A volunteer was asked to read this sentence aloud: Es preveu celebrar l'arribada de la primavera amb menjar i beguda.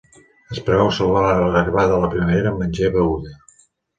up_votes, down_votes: 0, 2